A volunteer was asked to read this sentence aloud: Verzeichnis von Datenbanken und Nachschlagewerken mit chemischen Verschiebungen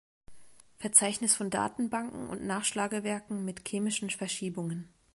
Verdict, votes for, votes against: rejected, 1, 2